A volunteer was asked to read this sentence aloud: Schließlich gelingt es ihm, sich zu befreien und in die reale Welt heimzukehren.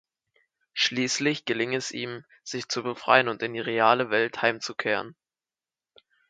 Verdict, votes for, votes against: rejected, 2, 4